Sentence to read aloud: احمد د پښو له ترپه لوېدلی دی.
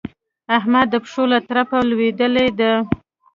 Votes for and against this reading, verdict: 2, 0, accepted